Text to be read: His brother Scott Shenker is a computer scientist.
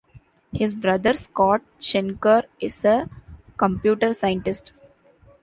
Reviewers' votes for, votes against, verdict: 2, 0, accepted